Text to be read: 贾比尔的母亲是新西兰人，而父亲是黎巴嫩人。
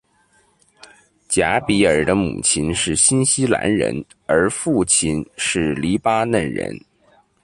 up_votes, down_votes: 2, 1